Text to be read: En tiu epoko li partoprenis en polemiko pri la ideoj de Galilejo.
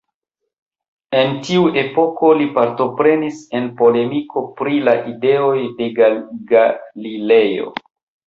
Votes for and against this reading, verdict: 1, 2, rejected